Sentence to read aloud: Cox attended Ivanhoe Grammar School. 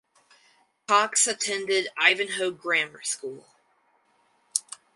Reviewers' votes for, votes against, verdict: 4, 0, accepted